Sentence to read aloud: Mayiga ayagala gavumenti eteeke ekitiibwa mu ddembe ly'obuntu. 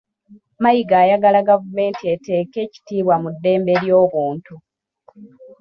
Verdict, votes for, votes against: rejected, 1, 2